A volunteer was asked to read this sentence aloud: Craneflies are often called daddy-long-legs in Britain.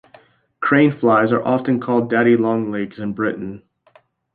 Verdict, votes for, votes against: accepted, 2, 0